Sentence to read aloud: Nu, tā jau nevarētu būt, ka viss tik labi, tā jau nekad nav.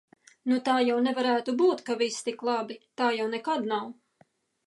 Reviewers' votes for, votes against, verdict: 2, 0, accepted